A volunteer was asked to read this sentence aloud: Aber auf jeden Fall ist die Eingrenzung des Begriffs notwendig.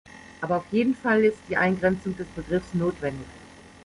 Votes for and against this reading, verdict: 2, 0, accepted